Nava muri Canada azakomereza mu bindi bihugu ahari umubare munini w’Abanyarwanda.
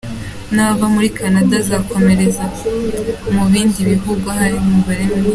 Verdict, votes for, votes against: rejected, 0, 2